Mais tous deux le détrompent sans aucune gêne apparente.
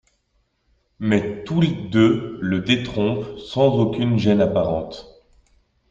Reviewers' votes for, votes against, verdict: 0, 2, rejected